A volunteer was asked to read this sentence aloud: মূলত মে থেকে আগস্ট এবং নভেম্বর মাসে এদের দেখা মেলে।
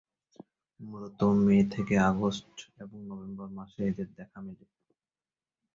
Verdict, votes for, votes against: rejected, 1, 2